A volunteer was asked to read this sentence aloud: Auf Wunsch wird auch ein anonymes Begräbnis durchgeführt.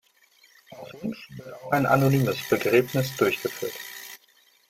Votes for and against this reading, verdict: 0, 2, rejected